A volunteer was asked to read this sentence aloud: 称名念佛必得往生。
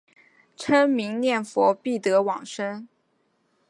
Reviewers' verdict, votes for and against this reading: accepted, 2, 0